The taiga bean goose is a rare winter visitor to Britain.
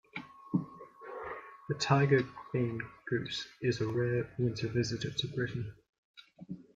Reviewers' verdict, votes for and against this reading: rejected, 1, 2